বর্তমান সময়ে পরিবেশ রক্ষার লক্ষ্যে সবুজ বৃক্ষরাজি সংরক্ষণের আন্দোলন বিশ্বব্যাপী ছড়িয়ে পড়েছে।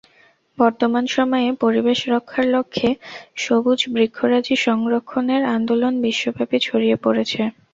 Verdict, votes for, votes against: accepted, 4, 0